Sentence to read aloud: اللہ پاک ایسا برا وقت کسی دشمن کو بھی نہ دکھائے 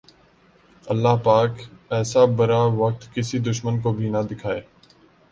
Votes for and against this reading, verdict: 2, 0, accepted